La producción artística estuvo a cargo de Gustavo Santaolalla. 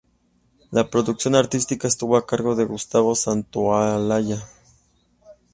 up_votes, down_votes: 2, 0